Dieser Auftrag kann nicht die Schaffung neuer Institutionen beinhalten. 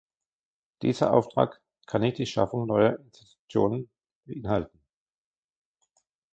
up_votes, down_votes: 0, 2